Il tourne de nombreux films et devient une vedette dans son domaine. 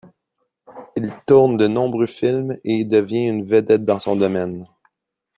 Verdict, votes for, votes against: accepted, 2, 0